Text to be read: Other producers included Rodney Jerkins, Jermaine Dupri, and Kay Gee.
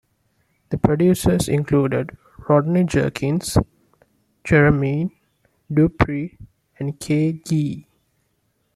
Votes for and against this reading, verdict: 0, 2, rejected